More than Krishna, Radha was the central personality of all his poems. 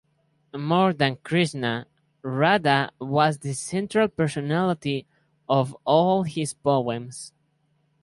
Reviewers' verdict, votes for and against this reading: accepted, 4, 0